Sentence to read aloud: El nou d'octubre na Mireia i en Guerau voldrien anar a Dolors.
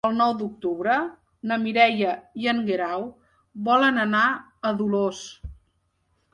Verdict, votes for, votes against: rejected, 1, 3